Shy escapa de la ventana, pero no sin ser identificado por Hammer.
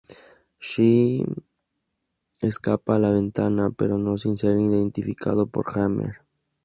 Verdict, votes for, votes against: rejected, 0, 2